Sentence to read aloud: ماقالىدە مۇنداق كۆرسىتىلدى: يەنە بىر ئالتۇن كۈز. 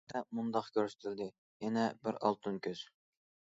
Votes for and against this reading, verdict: 0, 2, rejected